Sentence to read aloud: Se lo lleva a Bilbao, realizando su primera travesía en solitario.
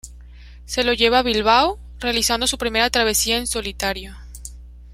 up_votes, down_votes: 2, 0